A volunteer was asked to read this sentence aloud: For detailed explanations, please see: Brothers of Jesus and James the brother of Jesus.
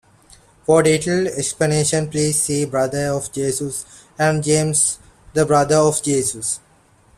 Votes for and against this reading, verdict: 0, 2, rejected